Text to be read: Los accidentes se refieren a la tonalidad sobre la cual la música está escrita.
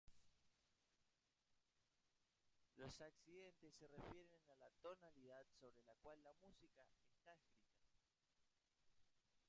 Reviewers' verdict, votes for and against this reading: rejected, 1, 2